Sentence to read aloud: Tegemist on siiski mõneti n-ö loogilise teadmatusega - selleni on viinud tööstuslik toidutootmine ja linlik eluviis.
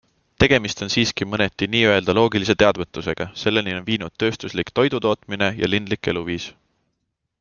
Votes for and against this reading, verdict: 2, 0, accepted